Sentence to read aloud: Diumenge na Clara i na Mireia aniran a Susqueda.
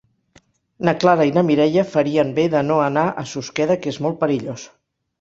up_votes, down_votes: 0, 3